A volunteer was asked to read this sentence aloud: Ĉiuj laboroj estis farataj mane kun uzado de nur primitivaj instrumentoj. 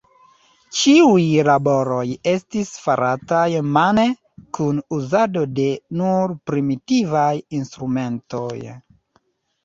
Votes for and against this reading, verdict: 2, 0, accepted